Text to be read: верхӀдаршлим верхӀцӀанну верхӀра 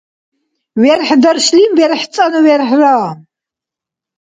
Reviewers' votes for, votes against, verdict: 2, 0, accepted